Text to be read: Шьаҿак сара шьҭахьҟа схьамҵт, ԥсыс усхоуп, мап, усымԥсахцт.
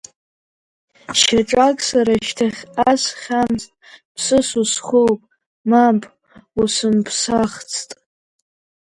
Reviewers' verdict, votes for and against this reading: rejected, 12, 17